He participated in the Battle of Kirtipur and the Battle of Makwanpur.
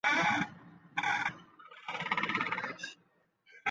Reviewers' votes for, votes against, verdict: 0, 2, rejected